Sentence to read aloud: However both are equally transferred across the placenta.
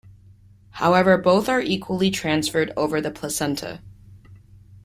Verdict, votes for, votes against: rejected, 0, 2